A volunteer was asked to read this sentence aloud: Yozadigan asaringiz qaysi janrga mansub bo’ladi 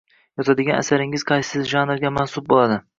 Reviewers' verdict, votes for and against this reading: accepted, 2, 0